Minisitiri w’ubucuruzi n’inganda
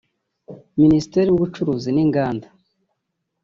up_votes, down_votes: 1, 2